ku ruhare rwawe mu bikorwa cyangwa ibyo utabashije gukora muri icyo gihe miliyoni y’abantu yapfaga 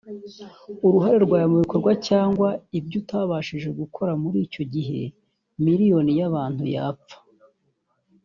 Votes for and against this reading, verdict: 1, 2, rejected